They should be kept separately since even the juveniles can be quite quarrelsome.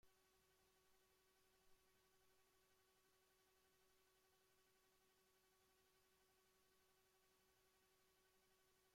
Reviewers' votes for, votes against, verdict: 0, 2, rejected